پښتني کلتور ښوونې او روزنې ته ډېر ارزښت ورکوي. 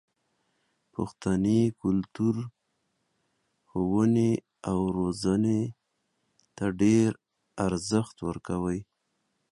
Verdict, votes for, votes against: rejected, 0, 2